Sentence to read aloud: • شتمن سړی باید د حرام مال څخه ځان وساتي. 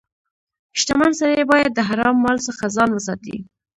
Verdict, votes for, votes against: rejected, 0, 2